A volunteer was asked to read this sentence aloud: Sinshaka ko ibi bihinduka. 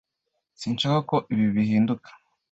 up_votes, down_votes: 2, 0